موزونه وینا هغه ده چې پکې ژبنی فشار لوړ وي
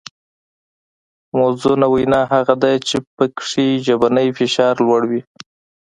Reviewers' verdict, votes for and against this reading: accepted, 2, 0